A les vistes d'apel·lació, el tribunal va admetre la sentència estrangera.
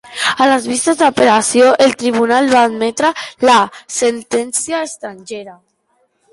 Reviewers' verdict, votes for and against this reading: accepted, 2, 1